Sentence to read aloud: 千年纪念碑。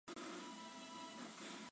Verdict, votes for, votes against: rejected, 0, 3